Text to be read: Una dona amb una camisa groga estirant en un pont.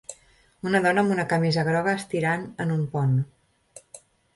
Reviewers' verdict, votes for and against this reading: accepted, 3, 0